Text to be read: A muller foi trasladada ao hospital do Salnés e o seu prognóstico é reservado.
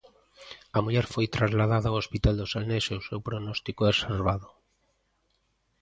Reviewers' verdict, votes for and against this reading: rejected, 0, 2